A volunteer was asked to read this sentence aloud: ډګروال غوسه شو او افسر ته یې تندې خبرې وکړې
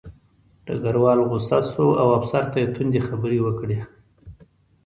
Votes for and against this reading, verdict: 2, 0, accepted